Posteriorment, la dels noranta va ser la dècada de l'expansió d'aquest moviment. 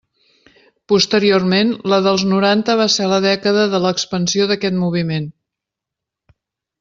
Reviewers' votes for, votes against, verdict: 3, 0, accepted